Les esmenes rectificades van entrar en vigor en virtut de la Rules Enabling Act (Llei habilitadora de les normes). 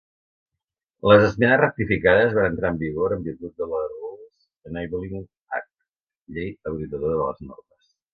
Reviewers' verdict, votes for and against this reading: rejected, 0, 2